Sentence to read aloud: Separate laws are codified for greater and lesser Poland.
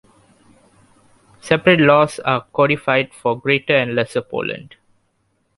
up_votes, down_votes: 2, 0